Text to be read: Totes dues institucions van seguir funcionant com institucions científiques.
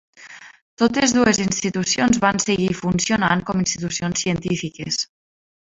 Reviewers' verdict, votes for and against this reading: rejected, 0, 2